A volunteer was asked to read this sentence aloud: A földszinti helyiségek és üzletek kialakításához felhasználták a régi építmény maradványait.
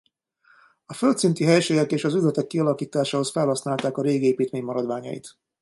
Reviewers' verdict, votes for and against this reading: rejected, 0, 2